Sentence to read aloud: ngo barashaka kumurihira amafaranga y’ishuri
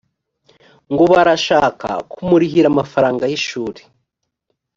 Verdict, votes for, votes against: accepted, 2, 0